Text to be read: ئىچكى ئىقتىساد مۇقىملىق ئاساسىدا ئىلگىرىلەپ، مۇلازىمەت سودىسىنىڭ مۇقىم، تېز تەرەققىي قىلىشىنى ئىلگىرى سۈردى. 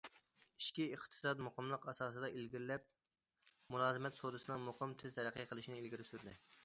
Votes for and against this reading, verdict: 2, 0, accepted